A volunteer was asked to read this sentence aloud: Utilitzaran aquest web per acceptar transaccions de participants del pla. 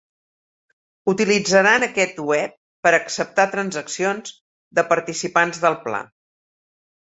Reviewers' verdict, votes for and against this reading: accepted, 2, 0